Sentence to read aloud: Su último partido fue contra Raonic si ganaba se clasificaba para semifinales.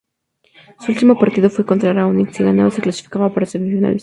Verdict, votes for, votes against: rejected, 2, 6